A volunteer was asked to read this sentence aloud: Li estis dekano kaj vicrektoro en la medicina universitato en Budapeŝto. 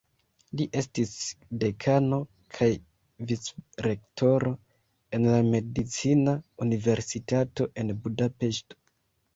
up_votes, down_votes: 1, 2